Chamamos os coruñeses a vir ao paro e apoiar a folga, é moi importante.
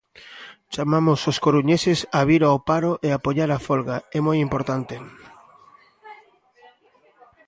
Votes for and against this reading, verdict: 1, 2, rejected